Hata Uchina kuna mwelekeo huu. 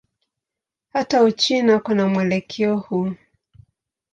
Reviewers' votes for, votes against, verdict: 2, 0, accepted